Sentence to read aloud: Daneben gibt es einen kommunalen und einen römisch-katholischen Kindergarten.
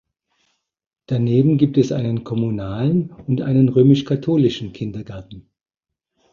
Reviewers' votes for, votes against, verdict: 2, 0, accepted